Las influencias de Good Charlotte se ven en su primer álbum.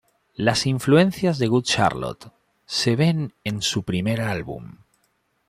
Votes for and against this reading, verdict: 2, 0, accepted